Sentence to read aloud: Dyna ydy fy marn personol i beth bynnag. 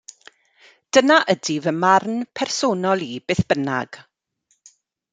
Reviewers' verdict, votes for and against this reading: accepted, 2, 0